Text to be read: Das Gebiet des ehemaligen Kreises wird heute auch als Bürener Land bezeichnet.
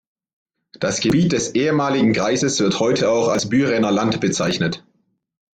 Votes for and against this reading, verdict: 2, 0, accepted